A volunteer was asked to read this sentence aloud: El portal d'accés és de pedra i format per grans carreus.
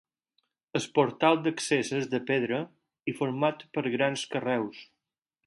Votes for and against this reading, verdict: 4, 2, accepted